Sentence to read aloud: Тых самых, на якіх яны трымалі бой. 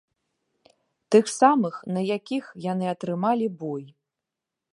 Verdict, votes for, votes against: rejected, 0, 2